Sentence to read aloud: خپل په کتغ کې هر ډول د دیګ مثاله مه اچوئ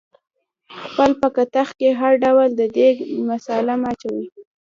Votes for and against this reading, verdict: 0, 2, rejected